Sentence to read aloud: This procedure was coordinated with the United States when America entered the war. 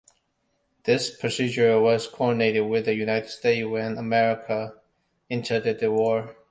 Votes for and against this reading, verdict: 1, 2, rejected